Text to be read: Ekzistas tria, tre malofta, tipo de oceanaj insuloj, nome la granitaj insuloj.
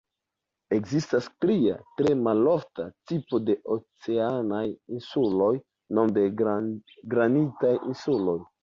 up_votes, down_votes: 2, 0